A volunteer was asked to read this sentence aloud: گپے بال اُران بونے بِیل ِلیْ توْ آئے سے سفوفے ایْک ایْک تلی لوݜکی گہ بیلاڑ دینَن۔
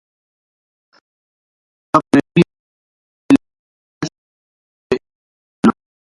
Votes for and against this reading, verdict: 0, 2, rejected